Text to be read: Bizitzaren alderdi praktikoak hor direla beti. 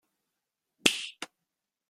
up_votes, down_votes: 0, 2